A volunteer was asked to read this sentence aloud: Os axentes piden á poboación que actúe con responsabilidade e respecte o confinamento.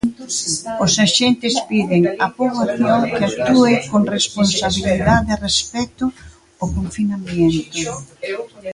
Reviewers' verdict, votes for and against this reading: rejected, 0, 2